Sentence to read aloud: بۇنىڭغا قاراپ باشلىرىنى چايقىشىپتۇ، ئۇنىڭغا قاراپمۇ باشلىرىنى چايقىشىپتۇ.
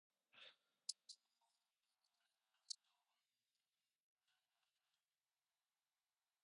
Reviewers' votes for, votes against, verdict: 0, 2, rejected